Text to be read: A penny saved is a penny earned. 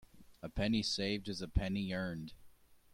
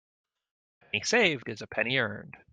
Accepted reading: first